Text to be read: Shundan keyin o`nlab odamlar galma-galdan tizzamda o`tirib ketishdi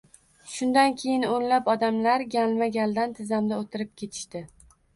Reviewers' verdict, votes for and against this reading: accepted, 2, 1